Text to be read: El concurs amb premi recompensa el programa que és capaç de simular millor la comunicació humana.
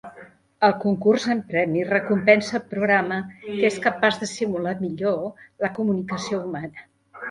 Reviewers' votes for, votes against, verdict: 1, 2, rejected